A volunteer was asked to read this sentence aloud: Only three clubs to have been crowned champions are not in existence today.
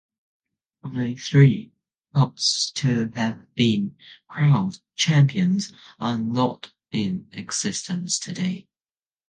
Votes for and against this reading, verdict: 0, 2, rejected